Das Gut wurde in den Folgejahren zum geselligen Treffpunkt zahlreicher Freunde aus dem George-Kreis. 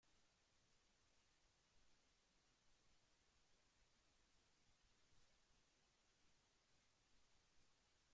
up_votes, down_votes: 0, 2